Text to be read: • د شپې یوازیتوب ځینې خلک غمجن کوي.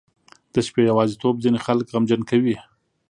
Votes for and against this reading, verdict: 2, 0, accepted